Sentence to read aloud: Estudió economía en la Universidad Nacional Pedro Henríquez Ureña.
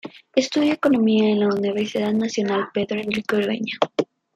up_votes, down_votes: 1, 2